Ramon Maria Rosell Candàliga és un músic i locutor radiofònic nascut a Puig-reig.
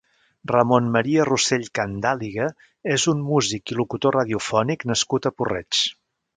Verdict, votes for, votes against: rejected, 0, 2